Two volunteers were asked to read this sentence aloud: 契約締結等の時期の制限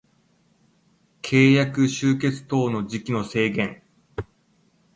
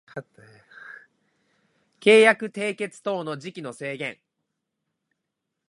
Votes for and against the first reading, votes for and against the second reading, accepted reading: 0, 2, 2, 1, second